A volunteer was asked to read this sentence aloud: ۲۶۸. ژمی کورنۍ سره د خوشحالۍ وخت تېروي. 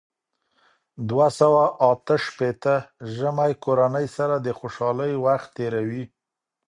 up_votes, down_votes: 0, 2